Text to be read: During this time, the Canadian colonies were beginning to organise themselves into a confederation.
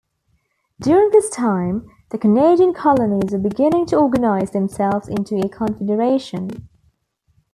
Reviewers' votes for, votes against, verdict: 1, 2, rejected